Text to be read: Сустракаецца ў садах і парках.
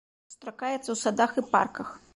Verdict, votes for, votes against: rejected, 1, 2